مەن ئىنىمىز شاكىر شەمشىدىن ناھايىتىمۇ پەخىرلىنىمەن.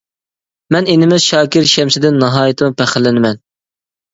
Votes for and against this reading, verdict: 2, 0, accepted